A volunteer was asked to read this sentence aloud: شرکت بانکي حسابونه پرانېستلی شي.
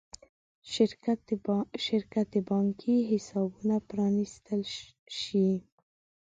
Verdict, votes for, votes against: rejected, 1, 2